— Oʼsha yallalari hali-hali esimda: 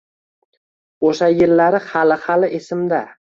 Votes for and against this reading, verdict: 0, 2, rejected